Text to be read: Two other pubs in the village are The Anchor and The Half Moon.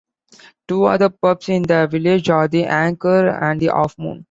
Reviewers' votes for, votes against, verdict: 2, 0, accepted